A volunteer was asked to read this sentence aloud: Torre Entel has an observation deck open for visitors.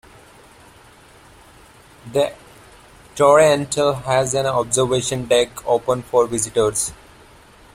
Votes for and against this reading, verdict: 1, 2, rejected